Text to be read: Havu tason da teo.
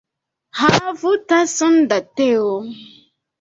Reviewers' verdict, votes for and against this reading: accepted, 2, 0